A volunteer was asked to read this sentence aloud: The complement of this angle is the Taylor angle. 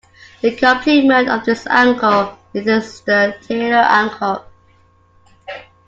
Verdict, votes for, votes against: accepted, 2, 0